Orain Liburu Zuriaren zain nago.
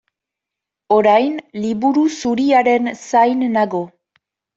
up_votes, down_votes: 2, 0